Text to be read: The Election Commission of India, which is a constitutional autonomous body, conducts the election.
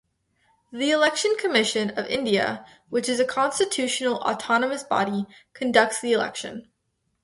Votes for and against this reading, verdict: 2, 0, accepted